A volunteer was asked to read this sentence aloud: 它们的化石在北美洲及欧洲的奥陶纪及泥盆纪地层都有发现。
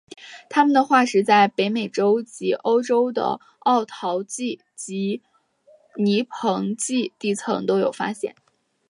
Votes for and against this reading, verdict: 2, 0, accepted